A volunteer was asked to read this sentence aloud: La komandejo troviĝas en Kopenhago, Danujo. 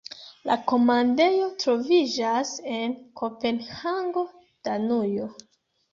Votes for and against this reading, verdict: 2, 1, accepted